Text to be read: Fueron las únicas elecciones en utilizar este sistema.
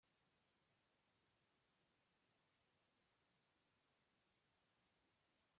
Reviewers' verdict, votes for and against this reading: rejected, 0, 2